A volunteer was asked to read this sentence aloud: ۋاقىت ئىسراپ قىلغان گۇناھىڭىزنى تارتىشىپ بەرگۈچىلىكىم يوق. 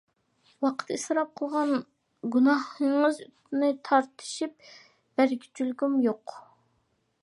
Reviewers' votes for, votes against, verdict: 0, 2, rejected